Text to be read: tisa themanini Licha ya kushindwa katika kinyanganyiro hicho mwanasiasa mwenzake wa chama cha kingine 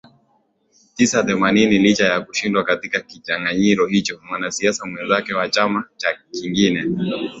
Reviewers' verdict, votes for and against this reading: accepted, 2, 0